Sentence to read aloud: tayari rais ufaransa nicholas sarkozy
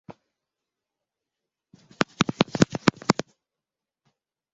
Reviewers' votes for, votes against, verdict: 0, 2, rejected